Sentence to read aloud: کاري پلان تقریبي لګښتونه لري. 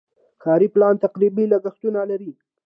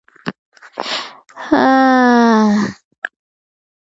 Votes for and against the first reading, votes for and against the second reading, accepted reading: 2, 0, 1, 2, first